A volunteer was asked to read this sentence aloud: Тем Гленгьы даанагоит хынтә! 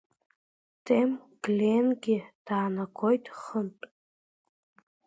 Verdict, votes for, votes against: accepted, 2, 0